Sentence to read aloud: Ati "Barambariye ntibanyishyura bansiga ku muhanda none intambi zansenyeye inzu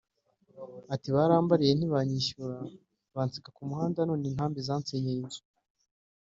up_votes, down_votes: 1, 2